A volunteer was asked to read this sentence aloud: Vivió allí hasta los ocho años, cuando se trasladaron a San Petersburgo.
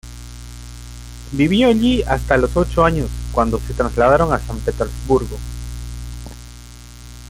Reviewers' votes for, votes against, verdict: 3, 0, accepted